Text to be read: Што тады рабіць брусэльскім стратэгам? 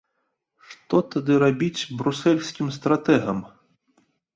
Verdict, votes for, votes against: accepted, 2, 0